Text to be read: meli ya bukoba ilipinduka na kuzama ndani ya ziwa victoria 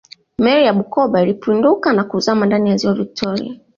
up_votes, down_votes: 2, 1